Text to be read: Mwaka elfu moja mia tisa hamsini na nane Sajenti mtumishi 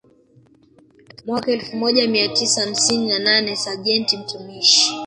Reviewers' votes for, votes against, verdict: 1, 2, rejected